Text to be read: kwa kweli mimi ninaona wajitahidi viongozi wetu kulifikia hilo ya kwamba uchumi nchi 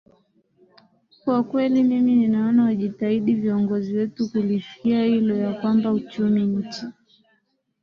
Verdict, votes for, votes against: accepted, 4, 1